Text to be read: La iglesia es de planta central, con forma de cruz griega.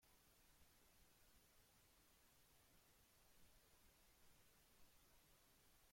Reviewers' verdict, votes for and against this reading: rejected, 0, 2